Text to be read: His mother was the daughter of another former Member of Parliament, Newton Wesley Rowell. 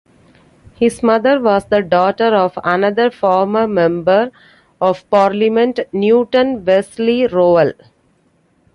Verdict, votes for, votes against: accepted, 2, 1